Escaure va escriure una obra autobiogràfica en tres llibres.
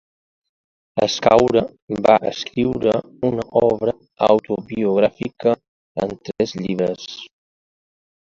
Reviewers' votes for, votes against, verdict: 2, 1, accepted